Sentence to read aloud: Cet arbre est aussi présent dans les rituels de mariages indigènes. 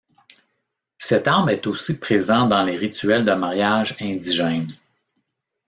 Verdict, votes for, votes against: rejected, 1, 2